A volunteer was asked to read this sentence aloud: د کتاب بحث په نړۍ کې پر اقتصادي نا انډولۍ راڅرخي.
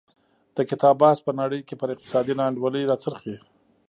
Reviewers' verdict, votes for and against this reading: accepted, 2, 0